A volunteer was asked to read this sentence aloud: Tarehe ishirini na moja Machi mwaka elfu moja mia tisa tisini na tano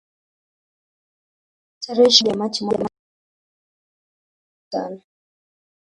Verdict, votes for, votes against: rejected, 1, 4